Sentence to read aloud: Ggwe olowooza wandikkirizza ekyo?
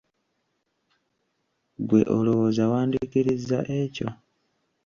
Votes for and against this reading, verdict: 2, 0, accepted